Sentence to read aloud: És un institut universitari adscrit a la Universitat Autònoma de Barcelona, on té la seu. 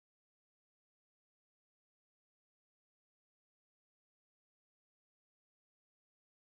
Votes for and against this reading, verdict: 0, 2, rejected